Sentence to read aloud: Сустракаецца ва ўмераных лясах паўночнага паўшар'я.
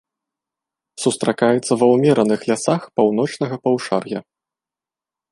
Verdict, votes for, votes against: accepted, 2, 0